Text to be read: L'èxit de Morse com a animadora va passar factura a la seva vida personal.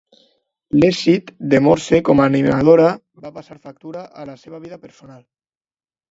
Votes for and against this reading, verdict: 0, 2, rejected